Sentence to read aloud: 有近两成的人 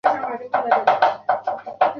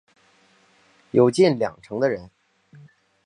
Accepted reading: second